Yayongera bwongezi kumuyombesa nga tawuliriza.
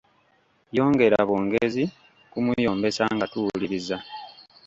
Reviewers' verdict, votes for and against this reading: rejected, 1, 2